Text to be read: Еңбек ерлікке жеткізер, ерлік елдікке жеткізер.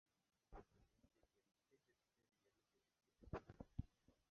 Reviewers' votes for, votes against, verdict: 0, 2, rejected